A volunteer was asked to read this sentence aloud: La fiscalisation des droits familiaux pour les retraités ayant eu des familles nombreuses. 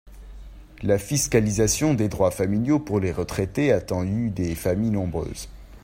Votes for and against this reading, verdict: 0, 2, rejected